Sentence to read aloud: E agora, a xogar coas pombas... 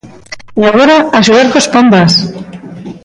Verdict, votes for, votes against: rejected, 1, 2